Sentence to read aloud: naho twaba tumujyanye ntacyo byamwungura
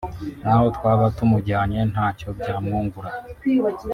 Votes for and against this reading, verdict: 2, 1, accepted